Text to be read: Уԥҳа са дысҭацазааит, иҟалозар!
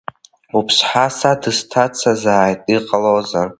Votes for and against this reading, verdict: 2, 1, accepted